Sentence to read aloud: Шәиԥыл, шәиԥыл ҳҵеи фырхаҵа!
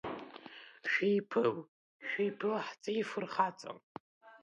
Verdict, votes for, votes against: rejected, 0, 2